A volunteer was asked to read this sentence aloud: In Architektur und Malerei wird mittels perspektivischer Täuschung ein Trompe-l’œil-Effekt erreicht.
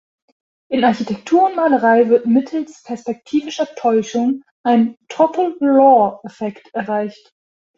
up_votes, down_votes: 0, 2